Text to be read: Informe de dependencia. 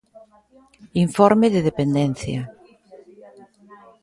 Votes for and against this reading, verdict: 2, 0, accepted